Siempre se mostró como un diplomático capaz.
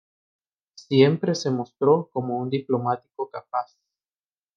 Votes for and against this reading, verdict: 1, 2, rejected